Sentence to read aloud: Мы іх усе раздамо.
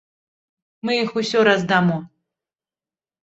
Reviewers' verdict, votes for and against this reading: rejected, 1, 2